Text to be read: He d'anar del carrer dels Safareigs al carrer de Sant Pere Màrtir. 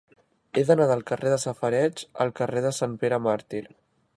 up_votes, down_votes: 1, 2